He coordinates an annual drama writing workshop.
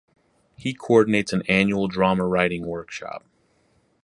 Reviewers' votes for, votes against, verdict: 2, 0, accepted